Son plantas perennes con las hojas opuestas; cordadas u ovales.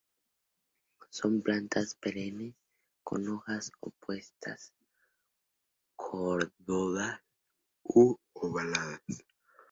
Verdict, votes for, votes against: rejected, 0, 2